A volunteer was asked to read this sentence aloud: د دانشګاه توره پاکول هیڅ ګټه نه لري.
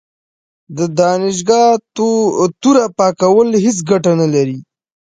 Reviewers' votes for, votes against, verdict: 5, 0, accepted